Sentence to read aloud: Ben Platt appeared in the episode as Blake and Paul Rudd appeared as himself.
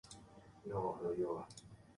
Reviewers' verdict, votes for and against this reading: rejected, 1, 2